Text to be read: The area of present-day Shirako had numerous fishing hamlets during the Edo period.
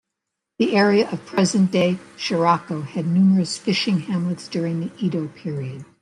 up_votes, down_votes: 2, 0